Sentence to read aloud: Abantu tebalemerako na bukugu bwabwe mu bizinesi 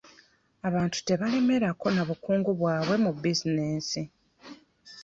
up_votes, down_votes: 1, 2